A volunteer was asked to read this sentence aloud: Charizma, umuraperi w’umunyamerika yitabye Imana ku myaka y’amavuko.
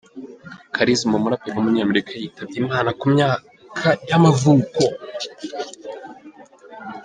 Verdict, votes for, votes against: accepted, 2, 1